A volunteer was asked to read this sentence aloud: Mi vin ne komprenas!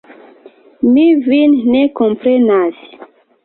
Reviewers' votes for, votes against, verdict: 1, 2, rejected